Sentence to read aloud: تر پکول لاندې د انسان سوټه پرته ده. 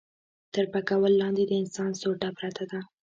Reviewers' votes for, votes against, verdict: 0, 2, rejected